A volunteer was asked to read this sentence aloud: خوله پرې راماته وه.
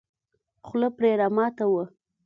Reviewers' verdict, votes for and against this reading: accepted, 2, 0